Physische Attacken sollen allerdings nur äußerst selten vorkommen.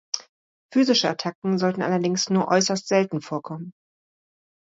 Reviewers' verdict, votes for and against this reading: rejected, 1, 2